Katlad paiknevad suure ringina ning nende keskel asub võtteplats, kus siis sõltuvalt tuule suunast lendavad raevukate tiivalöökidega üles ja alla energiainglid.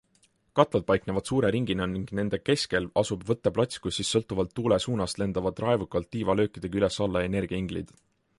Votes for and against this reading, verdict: 2, 0, accepted